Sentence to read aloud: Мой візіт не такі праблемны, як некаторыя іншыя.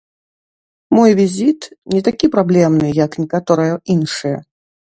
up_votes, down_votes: 0, 2